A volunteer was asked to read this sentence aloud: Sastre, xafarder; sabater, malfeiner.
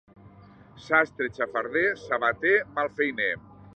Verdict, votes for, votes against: accepted, 2, 0